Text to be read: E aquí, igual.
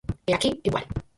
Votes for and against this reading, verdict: 2, 4, rejected